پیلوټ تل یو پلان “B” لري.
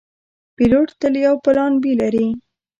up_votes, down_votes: 2, 0